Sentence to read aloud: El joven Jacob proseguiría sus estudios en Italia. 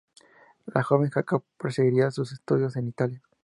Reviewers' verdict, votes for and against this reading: rejected, 0, 2